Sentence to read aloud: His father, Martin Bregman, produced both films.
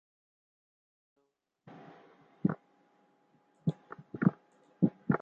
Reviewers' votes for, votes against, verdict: 0, 2, rejected